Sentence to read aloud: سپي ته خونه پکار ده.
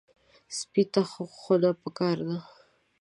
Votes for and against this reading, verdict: 2, 0, accepted